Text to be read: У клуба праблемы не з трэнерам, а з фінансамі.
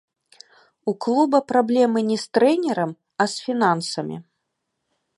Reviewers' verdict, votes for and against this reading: accepted, 2, 0